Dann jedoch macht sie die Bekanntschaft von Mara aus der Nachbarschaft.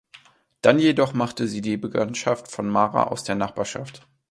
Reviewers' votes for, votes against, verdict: 0, 2, rejected